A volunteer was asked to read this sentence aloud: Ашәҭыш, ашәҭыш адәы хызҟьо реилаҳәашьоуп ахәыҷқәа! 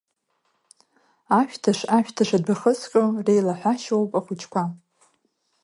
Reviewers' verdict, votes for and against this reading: accepted, 2, 0